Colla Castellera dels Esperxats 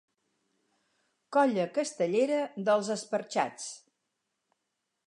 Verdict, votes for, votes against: accepted, 4, 0